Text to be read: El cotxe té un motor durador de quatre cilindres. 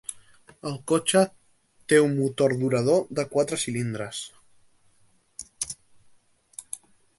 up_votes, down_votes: 2, 0